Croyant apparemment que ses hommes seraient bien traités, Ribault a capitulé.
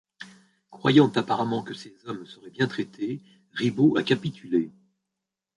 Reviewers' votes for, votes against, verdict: 0, 2, rejected